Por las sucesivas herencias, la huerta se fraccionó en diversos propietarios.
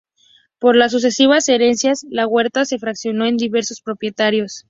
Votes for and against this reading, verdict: 2, 0, accepted